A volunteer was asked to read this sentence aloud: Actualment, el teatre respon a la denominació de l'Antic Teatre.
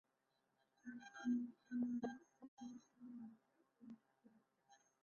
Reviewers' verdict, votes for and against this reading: rejected, 0, 2